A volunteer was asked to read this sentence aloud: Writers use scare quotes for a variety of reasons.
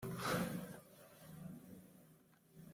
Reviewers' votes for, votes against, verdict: 0, 2, rejected